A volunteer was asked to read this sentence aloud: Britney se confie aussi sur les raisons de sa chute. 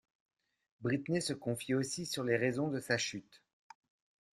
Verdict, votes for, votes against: accepted, 2, 0